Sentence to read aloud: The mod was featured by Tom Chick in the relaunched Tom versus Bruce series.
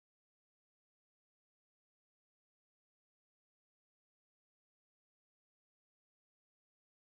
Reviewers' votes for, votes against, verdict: 0, 2, rejected